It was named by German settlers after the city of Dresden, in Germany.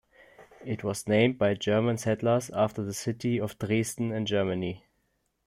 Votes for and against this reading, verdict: 2, 0, accepted